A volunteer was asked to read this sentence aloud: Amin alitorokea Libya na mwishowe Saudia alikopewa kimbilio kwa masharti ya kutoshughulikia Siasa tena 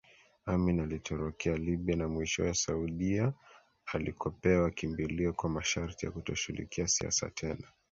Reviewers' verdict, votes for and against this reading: accepted, 2, 1